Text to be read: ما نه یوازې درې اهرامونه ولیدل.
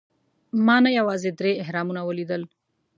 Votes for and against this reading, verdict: 2, 0, accepted